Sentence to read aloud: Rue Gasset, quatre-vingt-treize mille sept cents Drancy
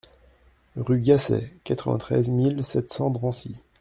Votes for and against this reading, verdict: 2, 0, accepted